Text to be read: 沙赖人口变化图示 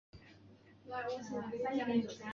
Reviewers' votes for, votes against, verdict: 2, 6, rejected